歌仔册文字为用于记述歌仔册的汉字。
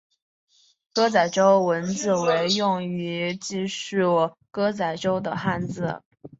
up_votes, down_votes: 1, 2